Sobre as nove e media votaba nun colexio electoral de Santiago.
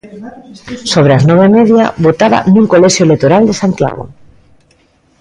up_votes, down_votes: 1, 2